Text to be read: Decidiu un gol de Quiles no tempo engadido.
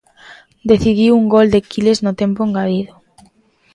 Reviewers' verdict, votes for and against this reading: accepted, 2, 0